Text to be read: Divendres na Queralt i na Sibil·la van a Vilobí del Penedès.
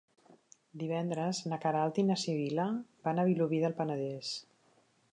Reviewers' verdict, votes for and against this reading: rejected, 1, 2